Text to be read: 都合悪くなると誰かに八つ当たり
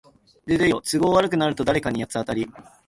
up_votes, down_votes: 0, 3